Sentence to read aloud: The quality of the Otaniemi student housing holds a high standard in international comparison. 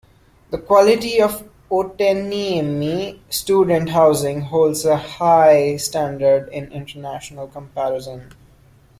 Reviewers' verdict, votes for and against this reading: rejected, 0, 2